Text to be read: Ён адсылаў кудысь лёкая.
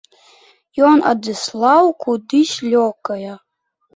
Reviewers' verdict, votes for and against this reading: rejected, 1, 2